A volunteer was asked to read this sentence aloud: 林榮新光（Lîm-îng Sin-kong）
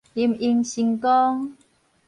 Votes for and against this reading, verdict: 4, 0, accepted